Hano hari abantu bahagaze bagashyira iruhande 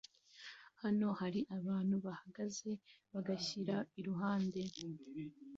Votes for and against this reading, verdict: 2, 0, accepted